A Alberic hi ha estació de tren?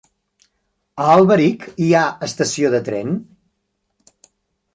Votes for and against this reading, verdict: 3, 0, accepted